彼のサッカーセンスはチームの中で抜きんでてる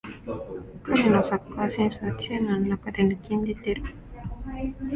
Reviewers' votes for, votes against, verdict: 1, 2, rejected